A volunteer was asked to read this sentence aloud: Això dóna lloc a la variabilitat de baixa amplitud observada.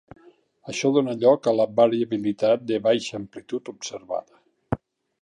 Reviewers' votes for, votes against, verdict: 0, 2, rejected